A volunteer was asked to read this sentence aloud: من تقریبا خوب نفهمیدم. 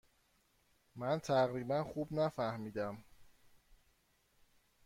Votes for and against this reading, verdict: 2, 0, accepted